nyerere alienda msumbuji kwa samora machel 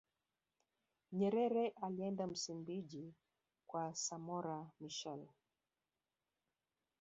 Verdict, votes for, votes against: rejected, 0, 2